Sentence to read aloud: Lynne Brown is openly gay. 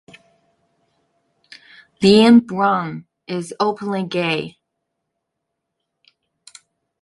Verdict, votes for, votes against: accepted, 2, 0